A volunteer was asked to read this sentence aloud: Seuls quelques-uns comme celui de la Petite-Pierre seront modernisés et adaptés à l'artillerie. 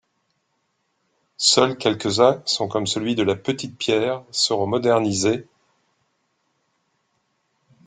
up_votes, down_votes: 0, 2